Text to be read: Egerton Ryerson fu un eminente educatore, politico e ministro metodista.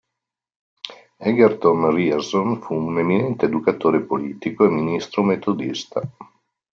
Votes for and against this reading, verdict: 2, 0, accepted